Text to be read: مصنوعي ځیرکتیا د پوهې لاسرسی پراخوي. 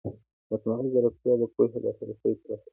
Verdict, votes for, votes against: accepted, 2, 0